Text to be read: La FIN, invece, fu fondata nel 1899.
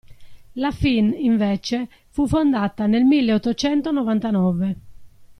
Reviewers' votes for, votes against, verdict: 0, 2, rejected